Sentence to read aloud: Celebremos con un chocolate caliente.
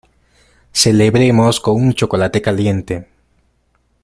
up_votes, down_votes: 1, 2